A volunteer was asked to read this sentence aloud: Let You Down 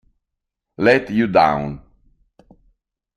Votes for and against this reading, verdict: 2, 0, accepted